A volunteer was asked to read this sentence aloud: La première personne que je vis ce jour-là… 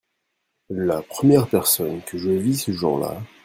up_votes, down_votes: 1, 2